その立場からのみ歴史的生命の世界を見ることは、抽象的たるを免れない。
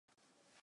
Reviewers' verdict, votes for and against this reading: rejected, 0, 2